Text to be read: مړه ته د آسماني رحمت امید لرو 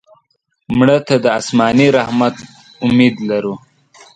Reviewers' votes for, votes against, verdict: 0, 2, rejected